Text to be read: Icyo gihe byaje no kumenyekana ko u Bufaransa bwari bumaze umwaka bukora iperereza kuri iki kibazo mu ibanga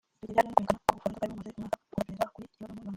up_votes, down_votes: 0, 2